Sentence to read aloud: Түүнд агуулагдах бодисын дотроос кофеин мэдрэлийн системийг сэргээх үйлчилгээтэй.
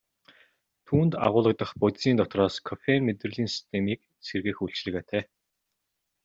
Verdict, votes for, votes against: accepted, 2, 0